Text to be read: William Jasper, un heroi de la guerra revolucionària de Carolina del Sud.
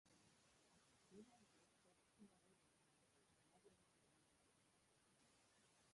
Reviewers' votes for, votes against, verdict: 0, 2, rejected